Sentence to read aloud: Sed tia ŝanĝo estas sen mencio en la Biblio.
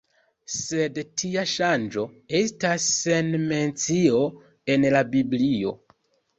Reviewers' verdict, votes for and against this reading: accepted, 2, 1